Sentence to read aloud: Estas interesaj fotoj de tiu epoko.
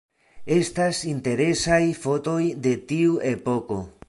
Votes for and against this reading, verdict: 3, 0, accepted